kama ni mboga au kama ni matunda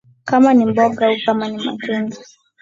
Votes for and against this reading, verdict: 9, 2, accepted